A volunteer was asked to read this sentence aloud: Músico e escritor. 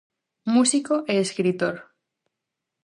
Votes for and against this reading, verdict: 4, 0, accepted